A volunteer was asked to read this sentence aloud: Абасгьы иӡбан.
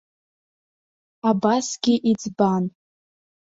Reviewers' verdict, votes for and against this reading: accepted, 2, 0